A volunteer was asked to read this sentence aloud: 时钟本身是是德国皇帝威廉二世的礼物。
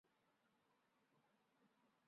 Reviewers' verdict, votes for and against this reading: rejected, 0, 3